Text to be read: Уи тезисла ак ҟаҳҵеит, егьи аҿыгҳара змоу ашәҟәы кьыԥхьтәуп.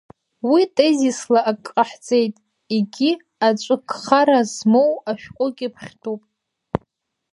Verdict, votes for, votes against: rejected, 1, 2